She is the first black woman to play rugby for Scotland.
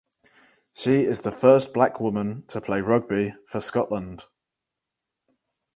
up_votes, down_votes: 4, 0